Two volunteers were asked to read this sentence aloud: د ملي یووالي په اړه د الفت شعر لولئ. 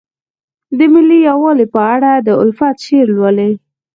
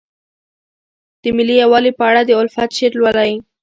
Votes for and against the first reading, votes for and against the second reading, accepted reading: 4, 0, 1, 2, first